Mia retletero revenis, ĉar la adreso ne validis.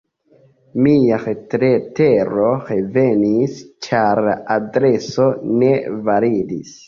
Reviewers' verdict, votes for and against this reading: accepted, 2, 1